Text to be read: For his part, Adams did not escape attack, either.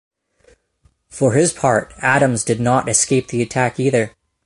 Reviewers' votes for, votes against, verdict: 0, 2, rejected